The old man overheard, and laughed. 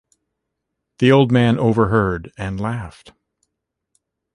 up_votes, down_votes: 2, 1